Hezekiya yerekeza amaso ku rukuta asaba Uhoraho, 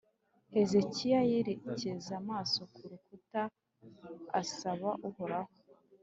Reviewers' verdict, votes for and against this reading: accepted, 3, 0